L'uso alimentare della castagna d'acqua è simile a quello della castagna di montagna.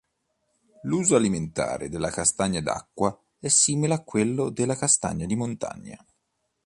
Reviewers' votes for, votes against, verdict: 3, 0, accepted